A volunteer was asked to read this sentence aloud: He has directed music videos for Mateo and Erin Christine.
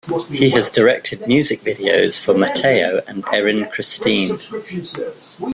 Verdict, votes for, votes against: accepted, 2, 1